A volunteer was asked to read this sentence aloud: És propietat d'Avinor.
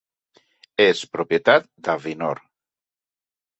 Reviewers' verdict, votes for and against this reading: accepted, 3, 1